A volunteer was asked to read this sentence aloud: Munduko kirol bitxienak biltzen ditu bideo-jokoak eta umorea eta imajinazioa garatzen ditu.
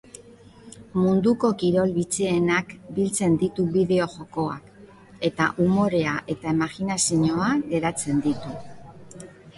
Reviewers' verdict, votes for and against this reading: rejected, 0, 2